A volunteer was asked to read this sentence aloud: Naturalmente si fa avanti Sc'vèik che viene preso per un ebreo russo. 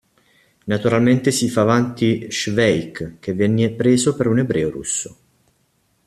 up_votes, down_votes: 1, 2